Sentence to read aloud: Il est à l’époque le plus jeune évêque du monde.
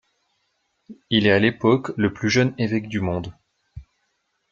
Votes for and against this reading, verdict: 2, 0, accepted